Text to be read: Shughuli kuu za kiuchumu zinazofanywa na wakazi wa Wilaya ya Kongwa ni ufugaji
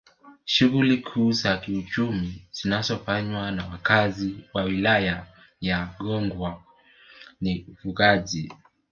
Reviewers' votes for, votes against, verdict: 0, 2, rejected